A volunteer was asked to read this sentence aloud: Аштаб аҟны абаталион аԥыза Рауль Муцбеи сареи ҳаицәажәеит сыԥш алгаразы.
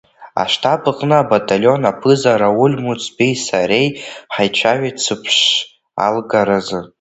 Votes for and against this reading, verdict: 0, 2, rejected